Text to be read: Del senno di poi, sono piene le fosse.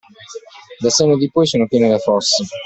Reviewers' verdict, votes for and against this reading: accepted, 2, 0